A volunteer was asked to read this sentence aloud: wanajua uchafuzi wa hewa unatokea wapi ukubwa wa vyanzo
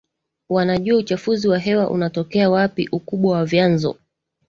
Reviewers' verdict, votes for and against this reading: accepted, 2, 0